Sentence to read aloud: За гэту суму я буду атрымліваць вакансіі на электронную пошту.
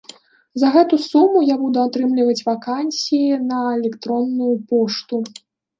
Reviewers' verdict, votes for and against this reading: accepted, 2, 0